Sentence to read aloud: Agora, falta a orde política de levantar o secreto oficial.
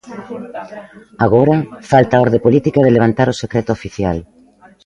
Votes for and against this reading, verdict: 1, 2, rejected